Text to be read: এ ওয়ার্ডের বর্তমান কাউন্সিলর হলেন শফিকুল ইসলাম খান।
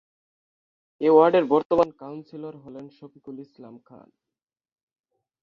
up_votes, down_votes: 6, 9